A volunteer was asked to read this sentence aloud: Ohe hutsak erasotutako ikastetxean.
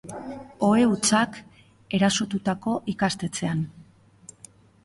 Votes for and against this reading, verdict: 2, 0, accepted